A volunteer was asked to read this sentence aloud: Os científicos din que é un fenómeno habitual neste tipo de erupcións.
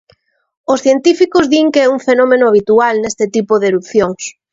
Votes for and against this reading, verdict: 2, 0, accepted